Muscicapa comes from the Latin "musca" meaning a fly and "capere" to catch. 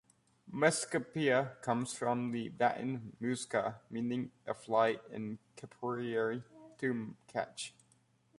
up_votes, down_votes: 0, 2